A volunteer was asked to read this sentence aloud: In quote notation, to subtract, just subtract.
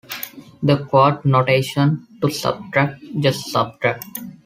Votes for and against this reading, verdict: 0, 2, rejected